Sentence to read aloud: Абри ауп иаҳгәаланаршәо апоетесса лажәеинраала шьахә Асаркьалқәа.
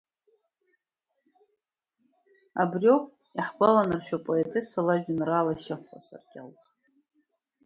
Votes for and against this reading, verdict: 1, 2, rejected